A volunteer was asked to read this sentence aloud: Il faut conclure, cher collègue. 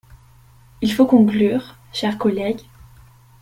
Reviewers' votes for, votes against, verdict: 2, 0, accepted